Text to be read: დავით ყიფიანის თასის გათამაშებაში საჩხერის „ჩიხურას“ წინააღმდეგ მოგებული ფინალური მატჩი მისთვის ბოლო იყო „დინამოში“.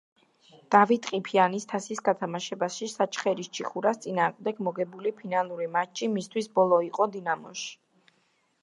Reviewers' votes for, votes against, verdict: 2, 0, accepted